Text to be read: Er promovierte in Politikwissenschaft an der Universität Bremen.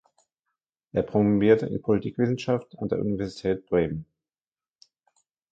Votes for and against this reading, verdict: 0, 2, rejected